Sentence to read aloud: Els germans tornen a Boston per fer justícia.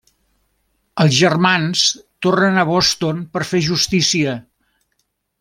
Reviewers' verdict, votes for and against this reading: accepted, 3, 0